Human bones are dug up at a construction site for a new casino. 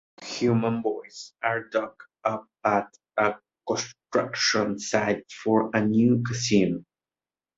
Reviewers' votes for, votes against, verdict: 1, 2, rejected